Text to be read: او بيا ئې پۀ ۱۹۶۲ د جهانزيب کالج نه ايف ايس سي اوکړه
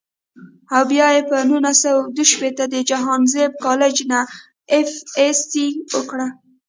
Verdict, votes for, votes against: rejected, 0, 2